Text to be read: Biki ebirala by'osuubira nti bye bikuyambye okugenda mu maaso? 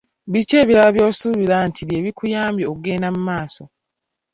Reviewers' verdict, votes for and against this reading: rejected, 0, 2